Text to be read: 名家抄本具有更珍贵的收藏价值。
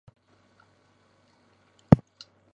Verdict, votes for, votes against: rejected, 0, 2